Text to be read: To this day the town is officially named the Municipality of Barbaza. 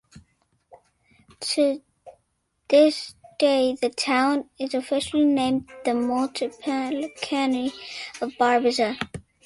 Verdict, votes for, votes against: rejected, 0, 2